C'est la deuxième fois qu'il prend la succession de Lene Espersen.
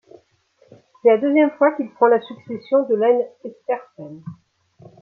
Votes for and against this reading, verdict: 2, 0, accepted